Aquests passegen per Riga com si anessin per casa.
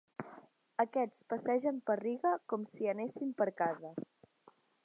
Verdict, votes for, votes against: accepted, 2, 0